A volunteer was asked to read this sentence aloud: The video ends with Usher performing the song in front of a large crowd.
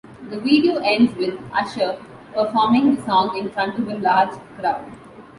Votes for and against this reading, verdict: 2, 0, accepted